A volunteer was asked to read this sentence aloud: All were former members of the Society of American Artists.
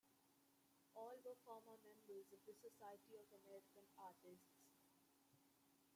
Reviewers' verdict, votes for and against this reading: rejected, 0, 2